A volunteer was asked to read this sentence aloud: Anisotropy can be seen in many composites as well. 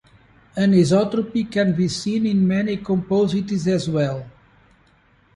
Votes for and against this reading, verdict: 2, 0, accepted